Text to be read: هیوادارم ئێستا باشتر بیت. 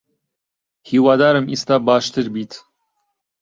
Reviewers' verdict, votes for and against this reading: rejected, 0, 2